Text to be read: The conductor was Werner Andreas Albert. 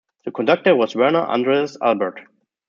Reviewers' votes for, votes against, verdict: 2, 0, accepted